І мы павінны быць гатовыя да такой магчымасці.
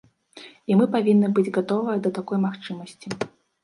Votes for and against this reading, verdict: 0, 2, rejected